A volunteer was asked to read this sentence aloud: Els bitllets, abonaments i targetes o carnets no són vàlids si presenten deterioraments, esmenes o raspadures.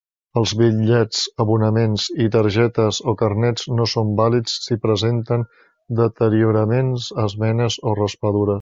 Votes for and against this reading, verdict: 0, 2, rejected